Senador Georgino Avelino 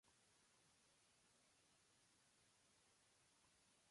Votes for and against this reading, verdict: 0, 2, rejected